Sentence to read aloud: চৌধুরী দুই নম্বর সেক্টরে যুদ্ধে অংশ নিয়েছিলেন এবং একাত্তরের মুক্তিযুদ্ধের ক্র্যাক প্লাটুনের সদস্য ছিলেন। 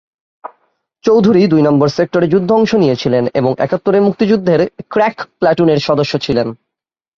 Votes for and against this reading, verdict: 38, 3, accepted